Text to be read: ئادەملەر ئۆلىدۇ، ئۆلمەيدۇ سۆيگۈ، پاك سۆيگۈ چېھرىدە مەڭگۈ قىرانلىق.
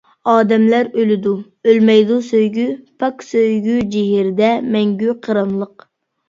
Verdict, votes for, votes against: rejected, 0, 2